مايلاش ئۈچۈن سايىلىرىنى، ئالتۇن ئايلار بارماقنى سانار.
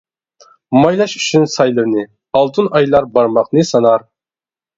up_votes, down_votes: 1, 2